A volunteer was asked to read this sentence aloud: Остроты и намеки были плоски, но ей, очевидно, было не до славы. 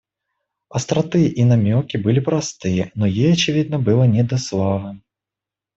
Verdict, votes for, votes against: rejected, 1, 2